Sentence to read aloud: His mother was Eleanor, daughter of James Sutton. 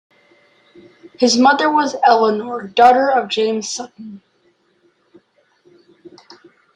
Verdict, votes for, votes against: accepted, 2, 0